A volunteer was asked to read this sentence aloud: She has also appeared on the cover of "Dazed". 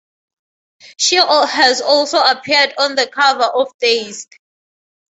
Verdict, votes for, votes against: accepted, 2, 0